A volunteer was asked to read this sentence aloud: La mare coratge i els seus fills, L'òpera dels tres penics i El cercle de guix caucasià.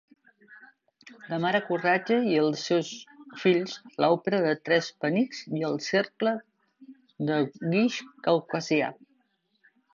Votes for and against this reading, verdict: 0, 2, rejected